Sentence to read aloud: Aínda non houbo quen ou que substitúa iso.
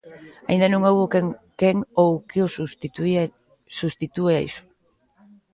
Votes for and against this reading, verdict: 0, 2, rejected